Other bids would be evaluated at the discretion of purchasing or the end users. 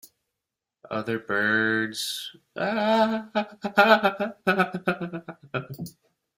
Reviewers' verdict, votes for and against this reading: rejected, 0, 2